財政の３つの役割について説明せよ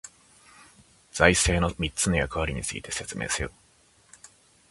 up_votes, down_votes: 0, 2